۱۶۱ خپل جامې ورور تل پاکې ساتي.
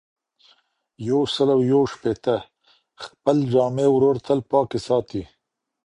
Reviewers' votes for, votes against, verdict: 0, 2, rejected